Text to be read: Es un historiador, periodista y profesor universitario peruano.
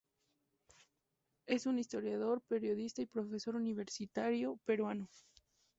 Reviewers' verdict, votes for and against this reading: accepted, 2, 0